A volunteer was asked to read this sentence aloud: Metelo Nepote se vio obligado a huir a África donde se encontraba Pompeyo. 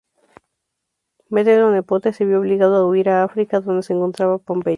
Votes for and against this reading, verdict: 0, 2, rejected